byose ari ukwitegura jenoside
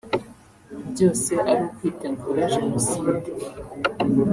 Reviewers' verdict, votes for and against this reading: accepted, 2, 0